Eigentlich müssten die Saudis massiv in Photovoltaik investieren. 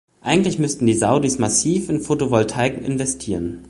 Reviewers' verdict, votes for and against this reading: accepted, 2, 0